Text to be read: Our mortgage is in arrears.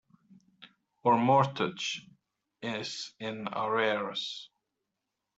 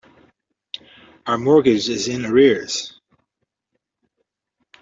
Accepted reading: second